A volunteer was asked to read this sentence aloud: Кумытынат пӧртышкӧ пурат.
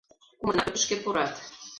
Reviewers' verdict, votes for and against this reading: rejected, 1, 4